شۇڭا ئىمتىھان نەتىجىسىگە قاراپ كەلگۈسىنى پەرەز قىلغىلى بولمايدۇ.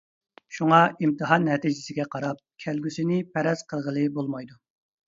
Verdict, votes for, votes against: accepted, 2, 0